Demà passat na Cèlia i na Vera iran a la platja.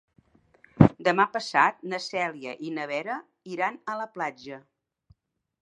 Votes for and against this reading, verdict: 3, 0, accepted